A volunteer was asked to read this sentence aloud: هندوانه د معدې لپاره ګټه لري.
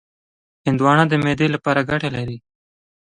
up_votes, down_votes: 2, 0